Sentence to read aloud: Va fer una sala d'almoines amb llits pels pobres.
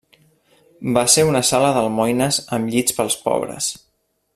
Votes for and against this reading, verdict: 1, 2, rejected